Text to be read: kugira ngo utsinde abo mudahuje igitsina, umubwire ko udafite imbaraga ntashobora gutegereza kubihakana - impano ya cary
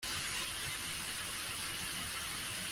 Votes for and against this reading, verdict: 0, 2, rejected